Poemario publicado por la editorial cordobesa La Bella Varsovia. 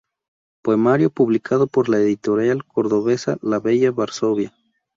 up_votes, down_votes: 2, 0